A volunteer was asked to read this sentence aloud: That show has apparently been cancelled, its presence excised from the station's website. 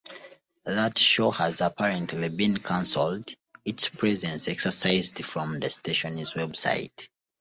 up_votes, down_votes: 1, 2